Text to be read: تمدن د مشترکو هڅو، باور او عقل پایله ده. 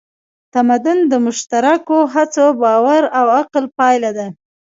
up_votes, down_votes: 2, 1